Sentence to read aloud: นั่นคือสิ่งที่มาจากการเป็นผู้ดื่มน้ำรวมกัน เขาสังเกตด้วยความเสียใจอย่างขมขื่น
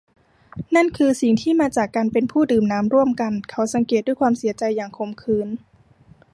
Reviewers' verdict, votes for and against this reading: rejected, 0, 2